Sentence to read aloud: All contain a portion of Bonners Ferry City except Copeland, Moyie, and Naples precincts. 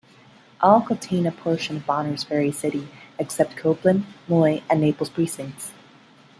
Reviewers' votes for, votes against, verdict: 2, 0, accepted